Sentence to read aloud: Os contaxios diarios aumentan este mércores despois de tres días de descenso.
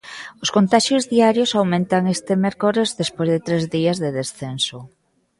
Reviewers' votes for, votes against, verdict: 2, 0, accepted